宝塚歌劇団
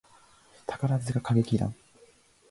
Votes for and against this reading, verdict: 2, 0, accepted